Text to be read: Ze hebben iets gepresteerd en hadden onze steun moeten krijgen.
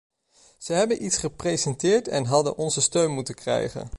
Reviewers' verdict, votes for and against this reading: accepted, 2, 1